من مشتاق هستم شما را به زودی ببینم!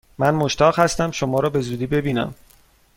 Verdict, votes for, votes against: accepted, 2, 0